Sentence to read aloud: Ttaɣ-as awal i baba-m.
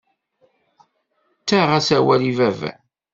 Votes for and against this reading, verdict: 2, 0, accepted